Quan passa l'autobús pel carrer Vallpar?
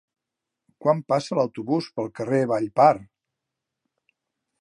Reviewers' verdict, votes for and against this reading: accepted, 3, 0